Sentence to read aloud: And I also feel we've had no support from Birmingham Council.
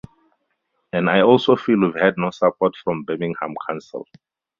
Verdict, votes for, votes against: rejected, 0, 2